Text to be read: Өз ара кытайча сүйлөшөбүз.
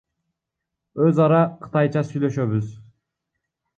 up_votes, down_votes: 1, 2